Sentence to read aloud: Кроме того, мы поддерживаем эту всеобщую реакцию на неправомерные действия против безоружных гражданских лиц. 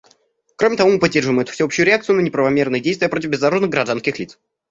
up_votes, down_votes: 2, 1